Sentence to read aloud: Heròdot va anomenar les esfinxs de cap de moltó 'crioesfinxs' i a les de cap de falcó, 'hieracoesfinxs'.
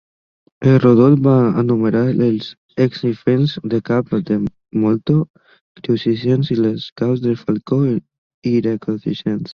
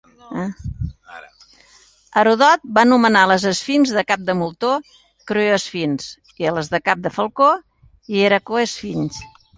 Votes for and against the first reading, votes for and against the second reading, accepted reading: 0, 2, 2, 1, second